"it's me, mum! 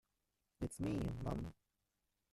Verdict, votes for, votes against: rejected, 0, 2